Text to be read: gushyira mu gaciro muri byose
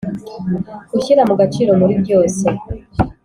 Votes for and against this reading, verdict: 2, 0, accepted